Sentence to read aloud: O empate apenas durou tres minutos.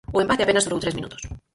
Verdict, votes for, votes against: rejected, 2, 4